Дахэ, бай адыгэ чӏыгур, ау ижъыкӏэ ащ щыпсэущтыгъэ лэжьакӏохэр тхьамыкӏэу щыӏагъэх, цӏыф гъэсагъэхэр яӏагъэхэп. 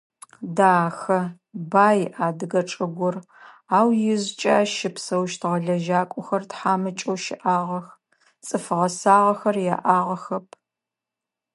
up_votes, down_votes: 2, 0